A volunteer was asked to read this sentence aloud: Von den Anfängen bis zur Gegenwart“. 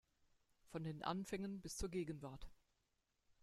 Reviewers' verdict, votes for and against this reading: rejected, 1, 2